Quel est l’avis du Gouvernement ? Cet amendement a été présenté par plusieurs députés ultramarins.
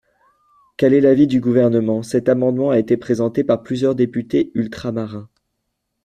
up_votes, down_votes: 2, 0